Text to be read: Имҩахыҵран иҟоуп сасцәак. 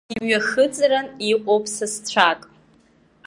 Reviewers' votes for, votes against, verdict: 2, 0, accepted